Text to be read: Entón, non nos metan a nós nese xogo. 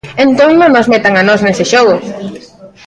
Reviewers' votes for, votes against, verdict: 1, 2, rejected